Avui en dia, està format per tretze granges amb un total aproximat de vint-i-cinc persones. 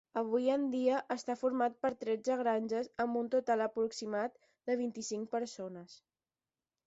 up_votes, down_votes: 10, 0